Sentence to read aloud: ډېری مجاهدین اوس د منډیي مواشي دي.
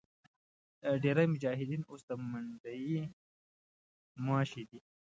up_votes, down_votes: 1, 2